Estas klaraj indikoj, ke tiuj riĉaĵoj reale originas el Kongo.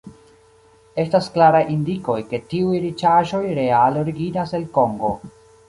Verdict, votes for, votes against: accepted, 2, 0